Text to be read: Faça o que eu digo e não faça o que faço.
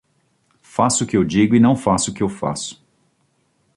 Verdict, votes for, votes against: rejected, 1, 2